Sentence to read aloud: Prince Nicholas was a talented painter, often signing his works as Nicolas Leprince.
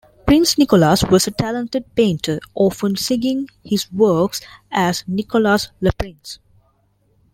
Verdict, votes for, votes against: rejected, 0, 2